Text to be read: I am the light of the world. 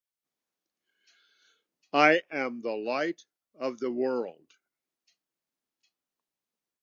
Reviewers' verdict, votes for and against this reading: accepted, 2, 0